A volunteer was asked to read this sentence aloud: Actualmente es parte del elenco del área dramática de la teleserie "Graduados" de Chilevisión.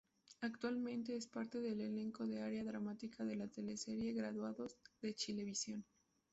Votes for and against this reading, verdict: 0, 2, rejected